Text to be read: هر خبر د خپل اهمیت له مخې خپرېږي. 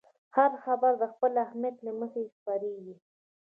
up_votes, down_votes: 2, 1